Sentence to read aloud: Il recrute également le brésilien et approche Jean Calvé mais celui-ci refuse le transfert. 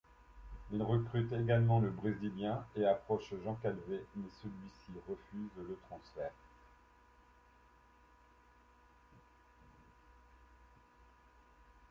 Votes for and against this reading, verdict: 2, 1, accepted